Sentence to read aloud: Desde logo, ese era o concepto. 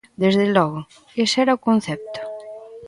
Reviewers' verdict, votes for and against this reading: rejected, 1, 2